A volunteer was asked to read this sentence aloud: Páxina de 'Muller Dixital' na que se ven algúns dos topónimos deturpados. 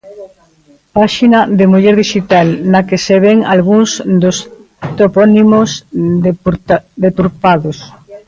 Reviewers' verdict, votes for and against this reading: rejected, 0, 2